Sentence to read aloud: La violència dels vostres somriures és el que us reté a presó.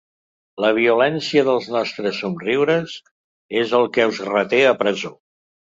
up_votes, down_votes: 1, 3